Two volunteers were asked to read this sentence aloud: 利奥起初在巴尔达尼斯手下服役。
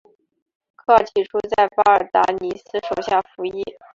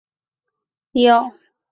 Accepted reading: first